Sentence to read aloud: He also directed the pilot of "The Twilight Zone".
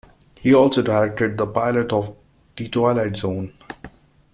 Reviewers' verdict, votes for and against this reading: accepted, 2, 0